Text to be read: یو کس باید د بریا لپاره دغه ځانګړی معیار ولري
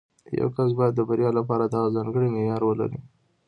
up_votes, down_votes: 2, 0